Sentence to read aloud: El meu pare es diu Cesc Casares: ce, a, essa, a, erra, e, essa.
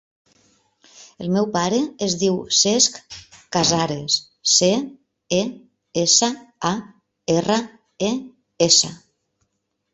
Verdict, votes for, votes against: rejected, 0, 2